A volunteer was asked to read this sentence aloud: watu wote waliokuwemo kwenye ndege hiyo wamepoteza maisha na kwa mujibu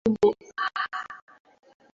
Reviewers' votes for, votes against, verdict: 0, 2, rejected